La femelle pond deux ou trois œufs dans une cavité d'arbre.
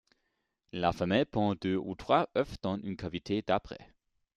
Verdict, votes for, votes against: accepted, 2, 0